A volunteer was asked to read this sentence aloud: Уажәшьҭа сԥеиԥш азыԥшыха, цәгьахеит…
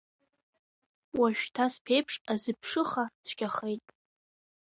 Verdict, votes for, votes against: rejected, 1, 2